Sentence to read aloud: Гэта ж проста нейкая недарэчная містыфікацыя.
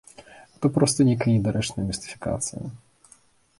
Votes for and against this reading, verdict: 0, 2, rejected